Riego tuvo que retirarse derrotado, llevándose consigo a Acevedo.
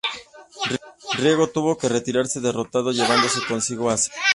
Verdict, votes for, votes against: rejected, 0, 2